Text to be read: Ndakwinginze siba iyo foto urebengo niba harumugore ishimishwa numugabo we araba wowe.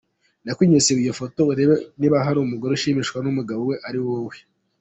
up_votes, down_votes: 2, 1